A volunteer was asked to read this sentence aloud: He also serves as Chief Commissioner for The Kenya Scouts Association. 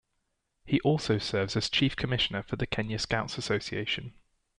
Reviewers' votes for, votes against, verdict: 2, 0, accepted